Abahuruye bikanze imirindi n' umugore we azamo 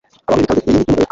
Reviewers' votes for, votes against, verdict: 0, 2, rejected